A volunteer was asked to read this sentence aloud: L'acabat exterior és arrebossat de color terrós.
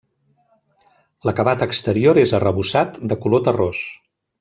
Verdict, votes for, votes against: accepted, 3, 0